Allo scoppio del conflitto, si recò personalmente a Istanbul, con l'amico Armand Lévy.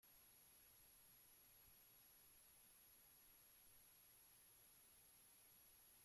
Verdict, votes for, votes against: rejected, 0, 2